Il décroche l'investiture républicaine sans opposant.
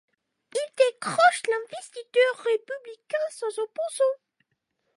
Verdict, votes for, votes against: rejected, 0, 2